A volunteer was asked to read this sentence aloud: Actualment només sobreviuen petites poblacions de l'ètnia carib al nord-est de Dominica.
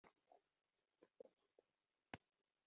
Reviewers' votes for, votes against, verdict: 0, 2, rejected